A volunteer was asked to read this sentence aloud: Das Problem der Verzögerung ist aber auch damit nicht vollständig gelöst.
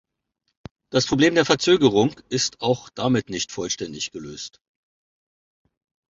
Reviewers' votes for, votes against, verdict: 0, 2, rejected